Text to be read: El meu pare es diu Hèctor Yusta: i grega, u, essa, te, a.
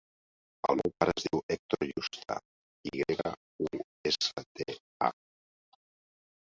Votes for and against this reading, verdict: 0, 3, rejected